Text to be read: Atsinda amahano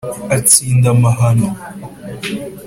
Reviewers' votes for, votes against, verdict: 2, 0, accepted